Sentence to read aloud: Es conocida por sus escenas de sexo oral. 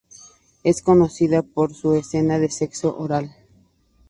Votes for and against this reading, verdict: 0, 2, rejected